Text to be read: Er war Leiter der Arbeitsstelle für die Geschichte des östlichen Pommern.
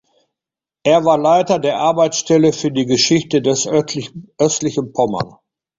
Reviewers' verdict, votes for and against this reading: rejected, 0, 2